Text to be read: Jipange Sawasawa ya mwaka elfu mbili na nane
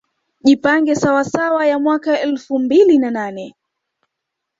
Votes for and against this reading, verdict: 0, 2, rejected